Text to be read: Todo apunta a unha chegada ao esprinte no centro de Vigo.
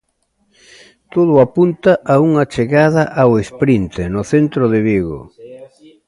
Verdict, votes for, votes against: rejected, 1, 2